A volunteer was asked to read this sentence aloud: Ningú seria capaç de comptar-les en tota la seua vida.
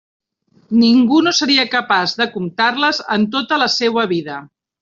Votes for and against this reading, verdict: 0, 2, rejected